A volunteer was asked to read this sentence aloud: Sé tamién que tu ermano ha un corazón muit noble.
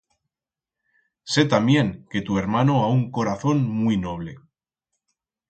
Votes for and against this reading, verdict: 2, 4, rejected